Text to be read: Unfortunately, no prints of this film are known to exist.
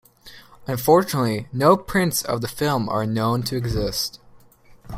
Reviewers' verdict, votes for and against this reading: rejected, 0, 2